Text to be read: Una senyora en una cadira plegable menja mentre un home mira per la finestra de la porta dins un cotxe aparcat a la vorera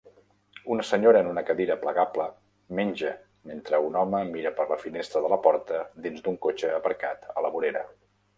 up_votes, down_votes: 0, 2